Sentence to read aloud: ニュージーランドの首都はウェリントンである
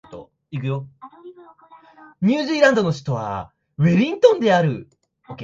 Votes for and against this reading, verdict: 2, 0, accepted